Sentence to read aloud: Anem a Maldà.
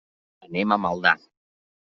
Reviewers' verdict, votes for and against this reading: accepted, 3, 0